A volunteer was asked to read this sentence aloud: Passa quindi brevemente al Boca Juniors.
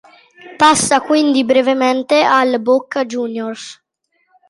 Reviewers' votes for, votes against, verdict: 2, 0, accepted